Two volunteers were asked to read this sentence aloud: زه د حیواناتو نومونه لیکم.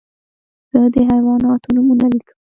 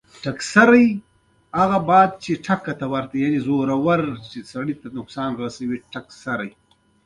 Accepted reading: first